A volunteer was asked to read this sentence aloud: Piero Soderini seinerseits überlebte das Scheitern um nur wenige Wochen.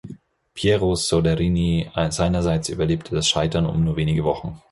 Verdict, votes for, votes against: rejected, 2, 4